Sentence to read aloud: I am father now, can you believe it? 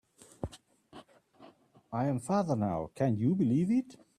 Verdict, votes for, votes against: accepted, 2, 0